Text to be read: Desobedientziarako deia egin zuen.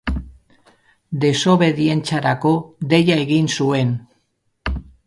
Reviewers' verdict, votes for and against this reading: rejected, 0, 2